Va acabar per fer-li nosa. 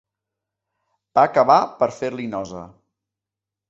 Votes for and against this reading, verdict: 3, 0, accepted